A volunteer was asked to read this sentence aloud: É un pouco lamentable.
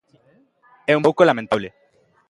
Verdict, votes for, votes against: accepted, 2, 0